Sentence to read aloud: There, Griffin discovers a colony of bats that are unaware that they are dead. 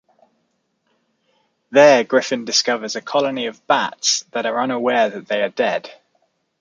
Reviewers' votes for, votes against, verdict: 2, 0, accepted